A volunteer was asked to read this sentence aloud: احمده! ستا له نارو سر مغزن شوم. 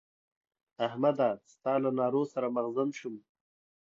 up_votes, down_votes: 2, 0